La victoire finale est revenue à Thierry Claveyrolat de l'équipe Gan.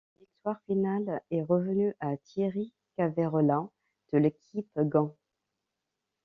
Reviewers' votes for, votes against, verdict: 0, 2, rejected